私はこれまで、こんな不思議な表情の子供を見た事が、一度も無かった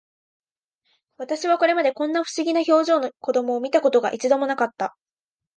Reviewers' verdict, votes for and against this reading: accepted, 2, 0